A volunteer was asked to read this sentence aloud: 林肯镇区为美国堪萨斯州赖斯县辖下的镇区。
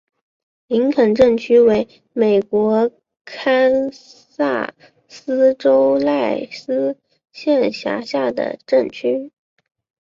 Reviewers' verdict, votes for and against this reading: accepted, 9, 3